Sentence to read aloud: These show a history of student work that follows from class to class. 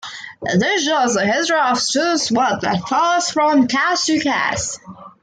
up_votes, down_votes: 0, 2